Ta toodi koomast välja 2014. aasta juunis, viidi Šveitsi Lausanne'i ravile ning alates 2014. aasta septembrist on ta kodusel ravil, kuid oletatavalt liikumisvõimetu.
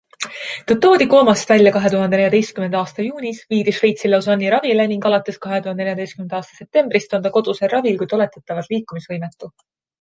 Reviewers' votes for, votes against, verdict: 0, 2, rejected